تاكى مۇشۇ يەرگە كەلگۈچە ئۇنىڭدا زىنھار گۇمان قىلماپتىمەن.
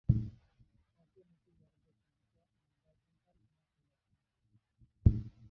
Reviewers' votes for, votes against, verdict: 0, 2, rejected